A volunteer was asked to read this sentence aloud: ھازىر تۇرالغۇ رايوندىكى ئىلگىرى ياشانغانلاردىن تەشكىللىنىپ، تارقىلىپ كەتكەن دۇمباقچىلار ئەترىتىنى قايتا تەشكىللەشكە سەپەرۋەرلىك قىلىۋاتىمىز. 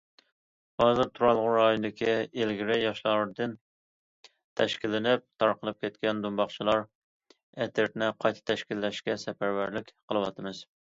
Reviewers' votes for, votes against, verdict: 1, 2, rejected